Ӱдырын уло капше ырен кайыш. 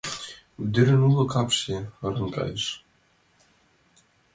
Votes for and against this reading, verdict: 2, 0, accepted